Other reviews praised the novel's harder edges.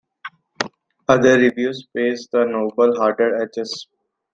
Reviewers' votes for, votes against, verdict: 2, 0, accepted